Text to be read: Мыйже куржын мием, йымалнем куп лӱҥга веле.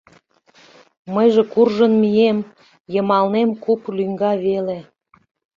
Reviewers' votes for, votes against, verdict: 2, 0, accepted